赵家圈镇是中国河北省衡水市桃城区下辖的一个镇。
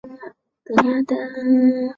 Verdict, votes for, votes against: rejected, 0, 2